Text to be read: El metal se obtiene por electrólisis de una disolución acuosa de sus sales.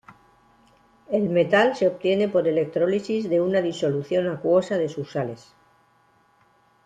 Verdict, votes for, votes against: accepted, 2, 0